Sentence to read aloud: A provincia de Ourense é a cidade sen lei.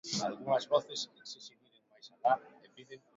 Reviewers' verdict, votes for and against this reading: rejected, 0, 2